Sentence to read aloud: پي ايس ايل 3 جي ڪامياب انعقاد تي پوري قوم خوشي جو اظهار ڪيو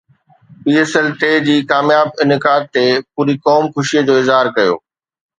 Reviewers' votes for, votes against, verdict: 0, 2, rejected